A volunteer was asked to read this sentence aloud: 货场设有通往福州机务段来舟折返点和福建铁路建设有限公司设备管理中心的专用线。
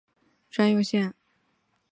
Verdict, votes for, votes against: rejected, 0, 3